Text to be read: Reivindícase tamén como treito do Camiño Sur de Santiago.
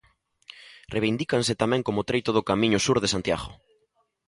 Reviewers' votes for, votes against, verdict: 0, 2, rejected